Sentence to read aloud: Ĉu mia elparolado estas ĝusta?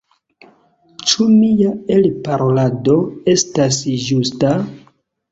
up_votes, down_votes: 2, 0